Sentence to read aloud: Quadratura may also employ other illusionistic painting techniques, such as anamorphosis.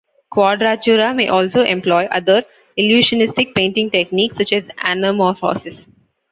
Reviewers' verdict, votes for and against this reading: rejected, 1, 2